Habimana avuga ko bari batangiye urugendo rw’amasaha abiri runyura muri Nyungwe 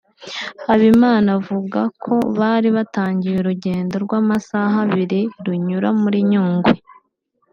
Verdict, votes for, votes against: accepted, 2, 0